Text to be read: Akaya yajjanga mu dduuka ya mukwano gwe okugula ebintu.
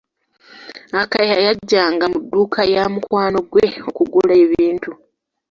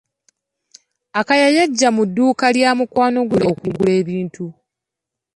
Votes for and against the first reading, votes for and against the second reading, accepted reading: 2, 0, 0, 2, first